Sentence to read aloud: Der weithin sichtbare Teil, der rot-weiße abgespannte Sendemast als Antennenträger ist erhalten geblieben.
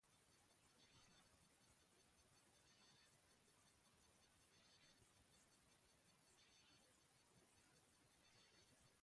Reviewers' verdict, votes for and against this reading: rejected, 0, 2